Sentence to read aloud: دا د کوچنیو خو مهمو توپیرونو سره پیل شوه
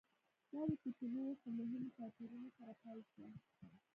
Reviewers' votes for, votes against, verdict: 0, 3, rejected